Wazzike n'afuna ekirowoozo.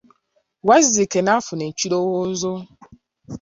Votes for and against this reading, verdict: 2, 0, accepted